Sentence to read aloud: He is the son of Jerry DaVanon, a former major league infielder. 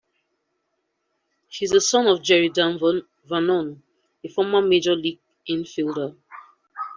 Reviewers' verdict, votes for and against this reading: rejected, 0, 2